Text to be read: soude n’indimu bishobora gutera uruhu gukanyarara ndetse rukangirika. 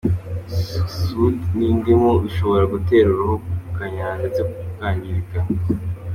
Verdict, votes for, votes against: accepted, 3, 1